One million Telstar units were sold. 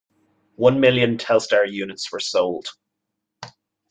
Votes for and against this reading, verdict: 2, 0, accepted